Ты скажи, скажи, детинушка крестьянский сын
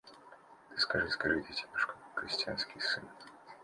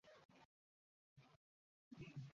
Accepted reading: first